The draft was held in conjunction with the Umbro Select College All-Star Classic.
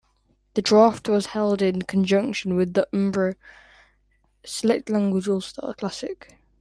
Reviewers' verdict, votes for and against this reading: rejected, 0, 2